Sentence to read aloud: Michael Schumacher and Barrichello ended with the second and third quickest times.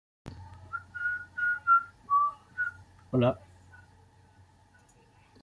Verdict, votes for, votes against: rejected, 0, 2